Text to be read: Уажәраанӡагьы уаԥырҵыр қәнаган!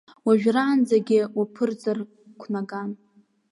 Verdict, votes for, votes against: accepted, 2, 0